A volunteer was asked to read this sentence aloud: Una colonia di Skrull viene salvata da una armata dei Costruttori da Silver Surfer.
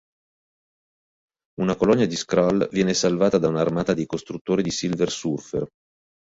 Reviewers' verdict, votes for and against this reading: rejected, 2, 3